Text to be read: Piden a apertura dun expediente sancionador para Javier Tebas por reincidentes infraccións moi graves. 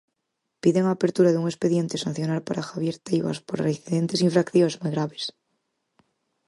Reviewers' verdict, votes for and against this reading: rejected, 0, 4